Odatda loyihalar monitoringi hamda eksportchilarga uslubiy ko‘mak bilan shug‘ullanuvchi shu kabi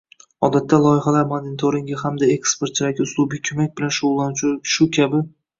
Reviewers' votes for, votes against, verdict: 1, 2, rejected